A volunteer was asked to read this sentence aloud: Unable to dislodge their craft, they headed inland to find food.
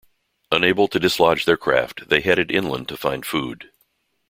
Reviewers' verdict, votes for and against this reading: accepted, 2, 0